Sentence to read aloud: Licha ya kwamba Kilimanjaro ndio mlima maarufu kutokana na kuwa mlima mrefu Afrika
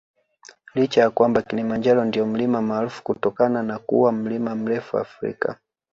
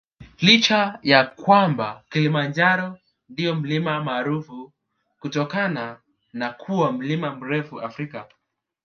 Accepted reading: second